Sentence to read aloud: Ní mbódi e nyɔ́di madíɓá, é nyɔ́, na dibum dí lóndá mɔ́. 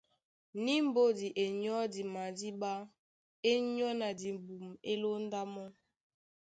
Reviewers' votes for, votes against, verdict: 3, 0, accepted